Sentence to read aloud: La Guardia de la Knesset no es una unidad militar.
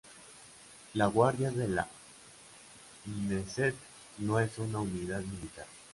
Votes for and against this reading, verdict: 1, 2, rejected